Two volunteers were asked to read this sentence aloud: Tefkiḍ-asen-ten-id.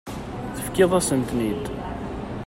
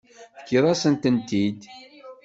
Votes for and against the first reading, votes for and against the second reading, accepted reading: 2, 0, 1, 2, first